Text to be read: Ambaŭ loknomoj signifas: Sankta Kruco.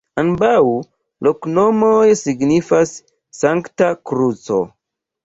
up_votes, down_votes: 0, 2